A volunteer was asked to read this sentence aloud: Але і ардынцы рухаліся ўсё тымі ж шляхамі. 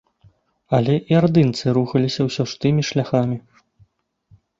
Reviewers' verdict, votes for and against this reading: rejected, 1, 3